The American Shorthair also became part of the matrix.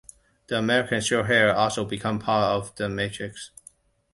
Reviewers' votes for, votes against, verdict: 0, 2, rejected